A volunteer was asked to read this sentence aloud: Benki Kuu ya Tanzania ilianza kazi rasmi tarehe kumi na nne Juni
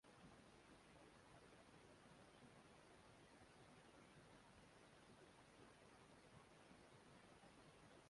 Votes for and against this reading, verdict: 0, 2, rejected